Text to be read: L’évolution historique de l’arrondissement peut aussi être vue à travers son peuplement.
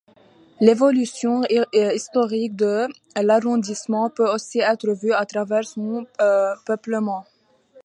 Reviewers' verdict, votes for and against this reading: rejected, 1, 2